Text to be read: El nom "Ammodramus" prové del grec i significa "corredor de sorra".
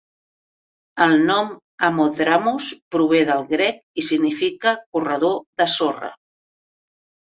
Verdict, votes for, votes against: accepted, 2, 0